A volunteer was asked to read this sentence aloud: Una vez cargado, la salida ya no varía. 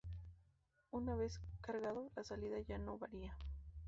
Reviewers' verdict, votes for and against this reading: rejected, 0, 2